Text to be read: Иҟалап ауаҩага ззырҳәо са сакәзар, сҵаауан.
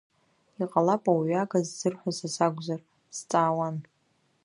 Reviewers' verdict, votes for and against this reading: accepted, 2, 0